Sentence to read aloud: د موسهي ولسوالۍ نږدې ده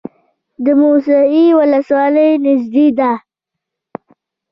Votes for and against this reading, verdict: 0, 2, rejected